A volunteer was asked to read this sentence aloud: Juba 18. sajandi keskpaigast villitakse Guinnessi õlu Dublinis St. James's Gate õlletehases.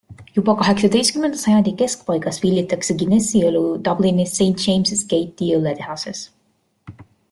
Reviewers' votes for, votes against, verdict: 0, 2, rejected